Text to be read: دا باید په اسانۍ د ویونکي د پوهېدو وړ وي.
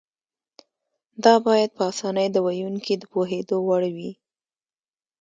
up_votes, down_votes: 1, 2